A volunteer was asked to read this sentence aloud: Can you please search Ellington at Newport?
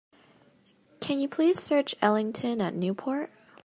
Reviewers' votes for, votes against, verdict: 2, 0, accepted